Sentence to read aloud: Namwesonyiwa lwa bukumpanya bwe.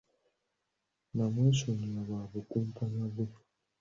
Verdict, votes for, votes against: accepted, 2, 0